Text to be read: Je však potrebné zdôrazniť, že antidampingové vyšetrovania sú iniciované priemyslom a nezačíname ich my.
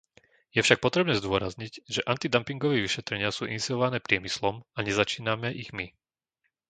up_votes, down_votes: 0, 2